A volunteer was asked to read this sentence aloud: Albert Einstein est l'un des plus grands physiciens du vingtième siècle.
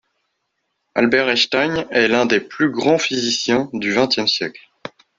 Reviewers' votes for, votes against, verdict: 2, 0, accepted